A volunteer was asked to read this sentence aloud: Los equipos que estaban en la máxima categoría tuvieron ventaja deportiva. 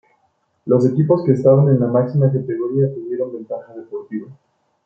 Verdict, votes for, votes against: rejected, 1, 2